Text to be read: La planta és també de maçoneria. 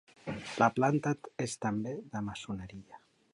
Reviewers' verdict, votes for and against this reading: accepted, 2, 1